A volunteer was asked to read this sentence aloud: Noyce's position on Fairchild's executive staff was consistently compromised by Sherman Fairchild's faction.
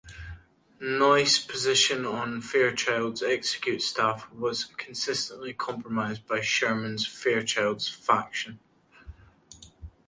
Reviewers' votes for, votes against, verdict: 2, 1, accepted